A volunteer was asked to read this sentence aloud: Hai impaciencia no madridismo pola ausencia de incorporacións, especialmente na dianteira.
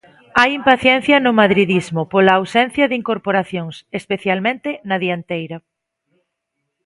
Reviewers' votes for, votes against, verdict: 2, 0, accepted